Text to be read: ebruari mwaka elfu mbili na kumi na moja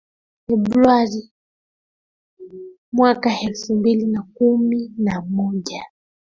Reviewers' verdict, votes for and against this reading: accepted, 2, 1